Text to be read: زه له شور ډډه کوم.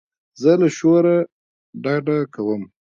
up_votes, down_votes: 2, 0